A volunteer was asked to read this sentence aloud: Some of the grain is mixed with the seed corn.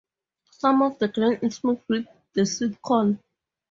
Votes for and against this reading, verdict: 0, 4, rejected